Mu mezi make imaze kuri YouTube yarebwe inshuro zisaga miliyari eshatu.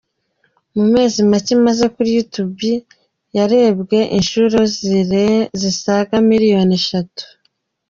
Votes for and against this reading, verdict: 0, 3, rejected